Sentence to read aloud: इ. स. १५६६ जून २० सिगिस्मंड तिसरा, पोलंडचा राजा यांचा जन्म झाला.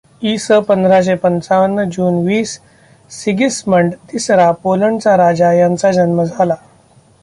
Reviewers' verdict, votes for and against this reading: rejected, 0, 2